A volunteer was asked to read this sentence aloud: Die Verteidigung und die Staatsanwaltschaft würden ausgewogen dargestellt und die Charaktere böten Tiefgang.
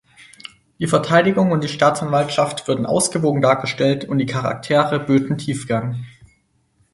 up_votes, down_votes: 4, 0